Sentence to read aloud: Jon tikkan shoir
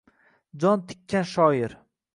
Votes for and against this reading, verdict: 2, 0, accepted